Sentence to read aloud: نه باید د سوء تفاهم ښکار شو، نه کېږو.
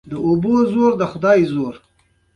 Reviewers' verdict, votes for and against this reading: accepted, 2, 1